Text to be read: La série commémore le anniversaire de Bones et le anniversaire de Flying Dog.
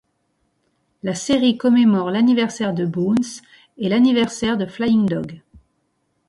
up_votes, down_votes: 2, 1